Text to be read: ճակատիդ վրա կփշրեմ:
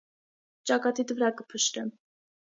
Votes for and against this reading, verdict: 3, 0, accepted